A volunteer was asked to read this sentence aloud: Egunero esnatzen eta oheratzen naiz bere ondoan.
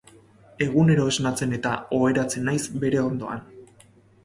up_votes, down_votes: 2, 0